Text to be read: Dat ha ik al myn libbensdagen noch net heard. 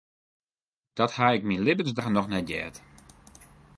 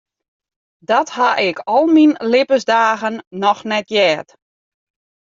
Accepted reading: second